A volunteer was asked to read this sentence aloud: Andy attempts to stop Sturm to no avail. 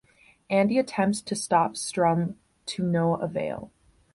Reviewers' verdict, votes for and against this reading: rejected, 1, 2